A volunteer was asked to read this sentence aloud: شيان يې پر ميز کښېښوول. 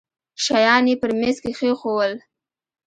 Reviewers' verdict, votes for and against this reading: accepted, 2, 0